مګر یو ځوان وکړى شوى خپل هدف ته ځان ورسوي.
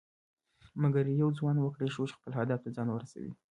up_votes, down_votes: 1, 2